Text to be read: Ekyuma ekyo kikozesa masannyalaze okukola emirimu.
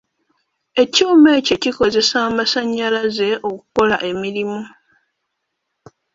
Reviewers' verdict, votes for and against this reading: rejected, 1, 2